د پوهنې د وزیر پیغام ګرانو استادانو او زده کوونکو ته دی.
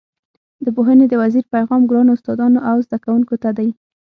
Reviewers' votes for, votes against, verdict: 6, 0, accepted